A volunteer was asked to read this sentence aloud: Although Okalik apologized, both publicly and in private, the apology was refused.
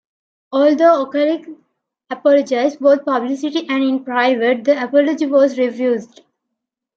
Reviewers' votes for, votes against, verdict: 2, 1, accepted